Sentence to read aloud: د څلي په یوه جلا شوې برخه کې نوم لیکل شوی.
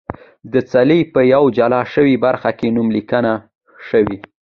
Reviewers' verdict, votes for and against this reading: accepted, 2, 0